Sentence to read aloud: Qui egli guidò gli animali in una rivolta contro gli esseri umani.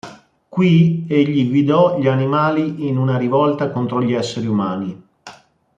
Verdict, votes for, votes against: accepted, 2, 0